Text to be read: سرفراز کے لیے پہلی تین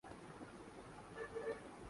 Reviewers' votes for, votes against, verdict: 0, 2, rejected